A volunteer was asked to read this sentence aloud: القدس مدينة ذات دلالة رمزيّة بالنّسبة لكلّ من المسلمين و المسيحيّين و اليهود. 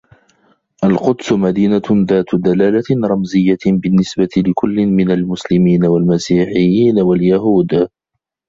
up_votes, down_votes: 2, 0